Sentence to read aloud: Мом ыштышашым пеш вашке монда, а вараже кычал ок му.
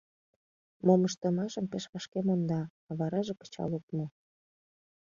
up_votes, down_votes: 1, 2